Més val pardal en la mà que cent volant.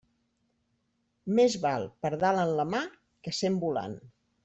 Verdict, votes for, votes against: accepted, 4, 1